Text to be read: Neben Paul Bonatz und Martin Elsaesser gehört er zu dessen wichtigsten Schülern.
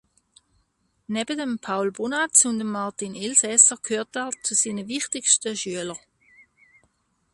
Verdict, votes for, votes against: rejected, 0, 2